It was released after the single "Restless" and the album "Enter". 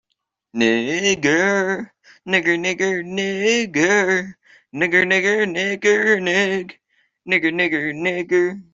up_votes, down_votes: 0, 2